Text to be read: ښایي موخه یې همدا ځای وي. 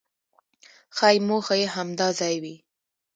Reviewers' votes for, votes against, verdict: 1, 2, rejected